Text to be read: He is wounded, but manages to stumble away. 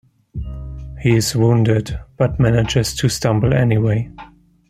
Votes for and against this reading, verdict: 0, 2, rejected